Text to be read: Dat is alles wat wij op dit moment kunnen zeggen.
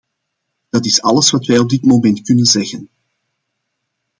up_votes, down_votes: 2, 1